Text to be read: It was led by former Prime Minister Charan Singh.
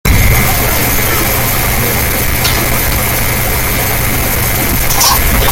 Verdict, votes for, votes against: rejected, 0, 2